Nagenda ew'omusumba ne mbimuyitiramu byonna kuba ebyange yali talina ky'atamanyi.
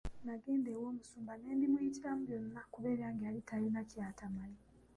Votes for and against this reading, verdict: 2, 1, accepted